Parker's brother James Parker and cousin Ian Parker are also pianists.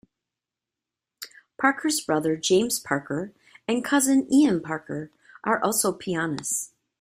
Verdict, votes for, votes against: accepted, 2, 0